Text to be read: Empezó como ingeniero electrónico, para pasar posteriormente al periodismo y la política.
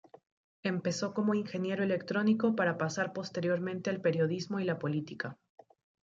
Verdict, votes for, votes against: rejected, 0, 2